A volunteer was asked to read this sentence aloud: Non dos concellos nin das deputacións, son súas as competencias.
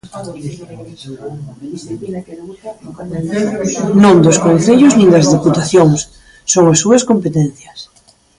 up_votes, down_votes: 0, 2